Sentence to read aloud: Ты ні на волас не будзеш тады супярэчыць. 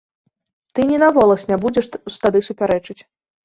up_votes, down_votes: 0, 2